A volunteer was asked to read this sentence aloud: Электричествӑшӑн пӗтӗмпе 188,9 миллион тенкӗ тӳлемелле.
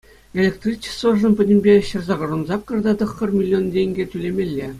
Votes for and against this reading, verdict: 0, 2, rejected